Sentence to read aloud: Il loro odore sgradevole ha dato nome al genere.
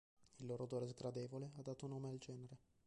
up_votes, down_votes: 0, 2